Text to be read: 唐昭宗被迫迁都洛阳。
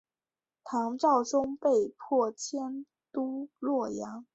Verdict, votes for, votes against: accepted, 3, 0